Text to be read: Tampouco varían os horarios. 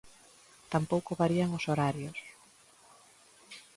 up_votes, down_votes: 2, 0